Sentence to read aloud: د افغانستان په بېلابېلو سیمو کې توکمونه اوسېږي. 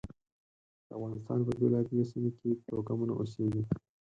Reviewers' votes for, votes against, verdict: 4, 6, rejected